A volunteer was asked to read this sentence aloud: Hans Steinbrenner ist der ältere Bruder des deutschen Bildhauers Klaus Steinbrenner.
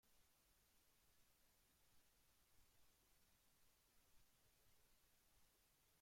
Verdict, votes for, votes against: rejected, 0, 2